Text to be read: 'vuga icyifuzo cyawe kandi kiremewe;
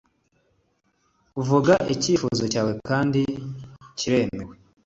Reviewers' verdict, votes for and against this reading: accepted, 2, 0